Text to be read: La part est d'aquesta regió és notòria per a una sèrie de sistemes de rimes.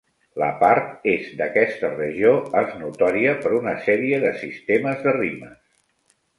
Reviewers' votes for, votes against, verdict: 0, 2, rejected